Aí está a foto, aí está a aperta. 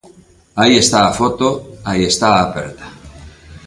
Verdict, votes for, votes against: accepted, 2, 0